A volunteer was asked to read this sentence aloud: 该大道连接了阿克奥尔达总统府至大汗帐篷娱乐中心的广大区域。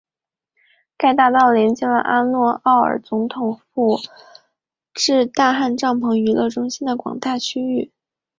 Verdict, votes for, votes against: accepted, 3, 0